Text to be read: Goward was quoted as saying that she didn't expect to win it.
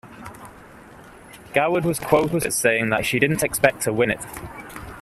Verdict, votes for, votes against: rejected, 1, 2